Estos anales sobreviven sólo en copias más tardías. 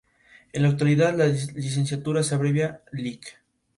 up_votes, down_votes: 0, 2